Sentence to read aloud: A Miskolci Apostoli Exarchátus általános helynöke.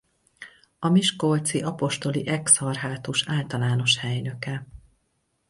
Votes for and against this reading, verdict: 2, 2, rejected